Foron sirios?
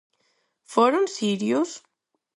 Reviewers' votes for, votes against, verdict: 4, 0, accepted